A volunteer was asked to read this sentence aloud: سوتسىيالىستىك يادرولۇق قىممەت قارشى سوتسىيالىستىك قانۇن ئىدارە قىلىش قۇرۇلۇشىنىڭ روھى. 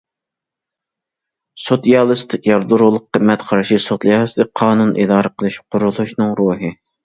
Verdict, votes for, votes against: rejected, 0, 2